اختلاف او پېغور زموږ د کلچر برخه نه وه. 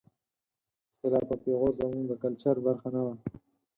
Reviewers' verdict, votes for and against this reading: accepted, 4, 0